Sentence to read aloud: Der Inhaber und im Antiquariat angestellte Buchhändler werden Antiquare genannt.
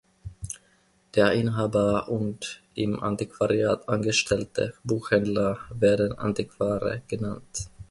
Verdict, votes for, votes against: accepted, 2, 0